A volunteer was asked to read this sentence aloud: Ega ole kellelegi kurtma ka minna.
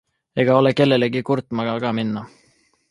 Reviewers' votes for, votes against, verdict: 0, 2, rejected